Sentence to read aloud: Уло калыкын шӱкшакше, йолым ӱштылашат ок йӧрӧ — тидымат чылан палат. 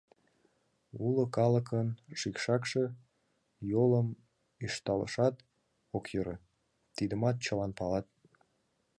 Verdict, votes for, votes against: rejected, 1, 5